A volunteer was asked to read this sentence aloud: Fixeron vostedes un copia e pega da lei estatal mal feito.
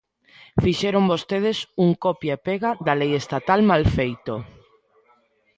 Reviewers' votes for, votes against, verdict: 1, 2, rejected